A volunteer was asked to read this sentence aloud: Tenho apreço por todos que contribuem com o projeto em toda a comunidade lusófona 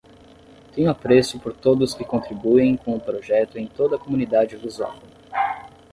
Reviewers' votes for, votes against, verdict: 10, 5, accepted